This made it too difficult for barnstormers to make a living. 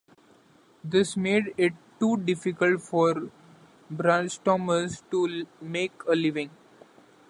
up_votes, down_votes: 0, 2